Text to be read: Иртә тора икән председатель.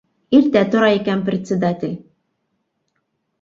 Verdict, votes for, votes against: accepted, 2, 0